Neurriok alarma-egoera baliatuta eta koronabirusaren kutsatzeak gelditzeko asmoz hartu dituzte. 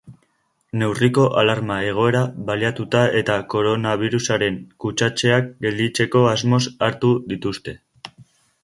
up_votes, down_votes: 1, 3